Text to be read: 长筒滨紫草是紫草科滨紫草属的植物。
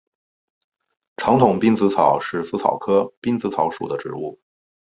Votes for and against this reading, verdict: 4, 0, accepted